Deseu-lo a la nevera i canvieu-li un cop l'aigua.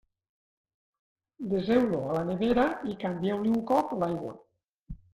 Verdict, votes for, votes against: rejected, 1, 2